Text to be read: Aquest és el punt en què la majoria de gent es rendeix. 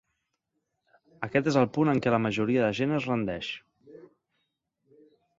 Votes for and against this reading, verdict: 3, 0, accepted